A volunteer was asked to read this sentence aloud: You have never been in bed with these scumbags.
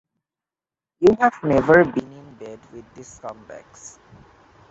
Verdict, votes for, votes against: rejected, 0, 2